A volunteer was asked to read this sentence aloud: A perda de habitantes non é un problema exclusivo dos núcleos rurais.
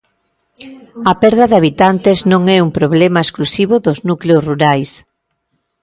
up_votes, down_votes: 2, 1